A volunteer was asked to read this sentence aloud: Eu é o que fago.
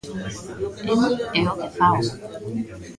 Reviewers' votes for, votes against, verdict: 1, 2, rejected